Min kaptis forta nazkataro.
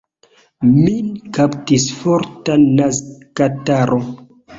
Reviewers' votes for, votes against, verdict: 2, 0, accepted